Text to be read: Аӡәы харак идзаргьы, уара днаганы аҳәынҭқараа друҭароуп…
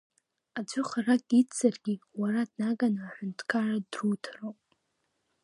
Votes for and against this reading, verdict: 2, 1, accepted